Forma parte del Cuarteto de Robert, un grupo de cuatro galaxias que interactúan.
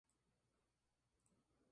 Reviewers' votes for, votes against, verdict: 0, 2, rejected